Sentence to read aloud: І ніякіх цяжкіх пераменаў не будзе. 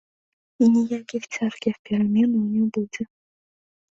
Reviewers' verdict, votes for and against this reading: rejected, 1, 2